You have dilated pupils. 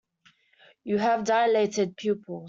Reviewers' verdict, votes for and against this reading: rejected, 1, 2